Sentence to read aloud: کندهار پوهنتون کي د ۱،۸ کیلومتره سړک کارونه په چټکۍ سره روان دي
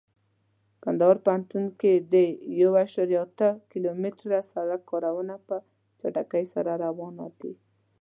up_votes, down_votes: 0, 2